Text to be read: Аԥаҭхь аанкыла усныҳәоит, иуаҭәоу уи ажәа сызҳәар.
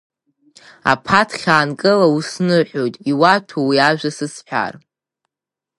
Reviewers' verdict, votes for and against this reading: accepted, 5, 0